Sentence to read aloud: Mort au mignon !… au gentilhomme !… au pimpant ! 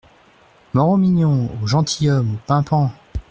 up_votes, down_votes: 0, 2